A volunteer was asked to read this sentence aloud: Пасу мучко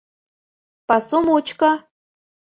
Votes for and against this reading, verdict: 2, 0, accepted